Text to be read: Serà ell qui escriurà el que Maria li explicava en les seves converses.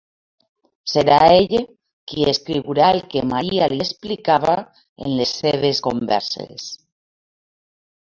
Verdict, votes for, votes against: rejected, 1, 2